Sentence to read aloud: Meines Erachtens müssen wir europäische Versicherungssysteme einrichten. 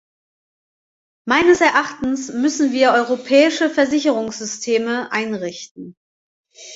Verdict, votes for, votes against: accepted, 2, 0